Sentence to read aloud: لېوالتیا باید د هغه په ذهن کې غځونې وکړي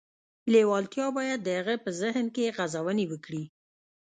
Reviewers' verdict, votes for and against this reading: rejected, 1, 2